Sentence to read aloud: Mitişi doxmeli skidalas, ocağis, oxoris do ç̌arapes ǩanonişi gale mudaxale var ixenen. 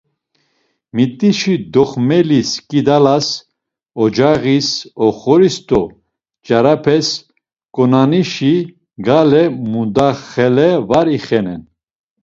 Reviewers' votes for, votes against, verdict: 1, 2, rejected